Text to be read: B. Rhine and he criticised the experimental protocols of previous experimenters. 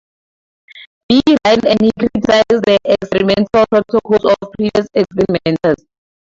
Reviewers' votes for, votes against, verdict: 0, 2, rejected